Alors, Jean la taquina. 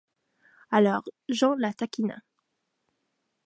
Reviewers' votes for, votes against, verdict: 2, 0, accepted